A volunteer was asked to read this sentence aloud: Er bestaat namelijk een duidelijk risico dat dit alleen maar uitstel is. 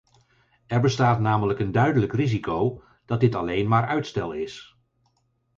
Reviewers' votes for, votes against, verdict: 4, 0, accepted